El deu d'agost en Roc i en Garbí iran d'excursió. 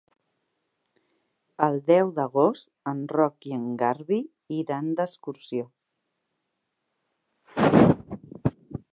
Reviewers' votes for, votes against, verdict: 1, 2, rejected